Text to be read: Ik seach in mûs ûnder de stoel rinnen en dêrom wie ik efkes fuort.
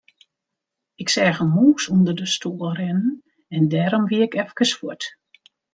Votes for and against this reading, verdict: 2, 0, accepted